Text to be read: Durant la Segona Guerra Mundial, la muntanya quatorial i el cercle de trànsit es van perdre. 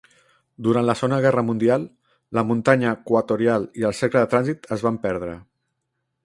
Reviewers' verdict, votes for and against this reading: rejected, 0, 3